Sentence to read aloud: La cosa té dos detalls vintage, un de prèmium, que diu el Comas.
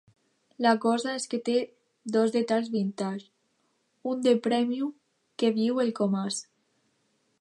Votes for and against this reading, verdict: 1, 2, rejected